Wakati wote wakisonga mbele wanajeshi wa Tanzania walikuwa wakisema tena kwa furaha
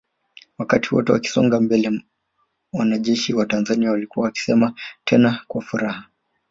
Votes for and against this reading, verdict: 4, 1, accepted